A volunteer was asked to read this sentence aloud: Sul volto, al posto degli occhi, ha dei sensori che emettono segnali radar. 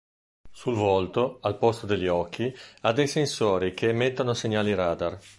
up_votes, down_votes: 2, 0